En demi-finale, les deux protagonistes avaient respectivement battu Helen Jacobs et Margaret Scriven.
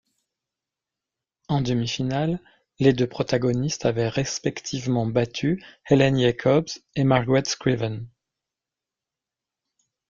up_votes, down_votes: 1, 2